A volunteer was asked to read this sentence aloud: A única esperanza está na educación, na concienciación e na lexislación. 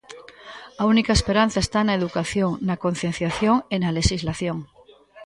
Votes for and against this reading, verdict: 3, 0, accepted